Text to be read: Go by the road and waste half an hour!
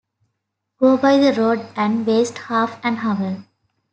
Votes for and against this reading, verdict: 2, 0, accepted